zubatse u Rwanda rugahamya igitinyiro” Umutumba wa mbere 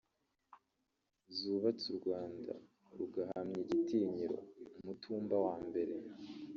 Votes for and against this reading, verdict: 0, 2, rejected